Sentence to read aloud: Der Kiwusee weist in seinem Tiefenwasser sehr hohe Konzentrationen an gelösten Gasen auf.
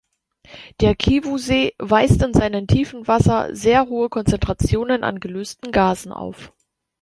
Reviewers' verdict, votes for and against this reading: rejected, 0, 2